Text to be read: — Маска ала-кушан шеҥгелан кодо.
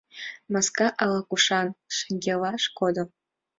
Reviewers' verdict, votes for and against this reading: rejected, 1, 2